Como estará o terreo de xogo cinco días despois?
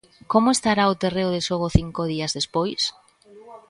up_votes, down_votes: 1, 2